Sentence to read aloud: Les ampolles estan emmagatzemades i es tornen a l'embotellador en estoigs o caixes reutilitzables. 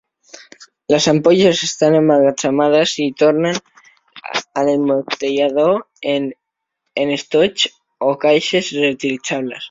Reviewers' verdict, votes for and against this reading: rejected, 0, 2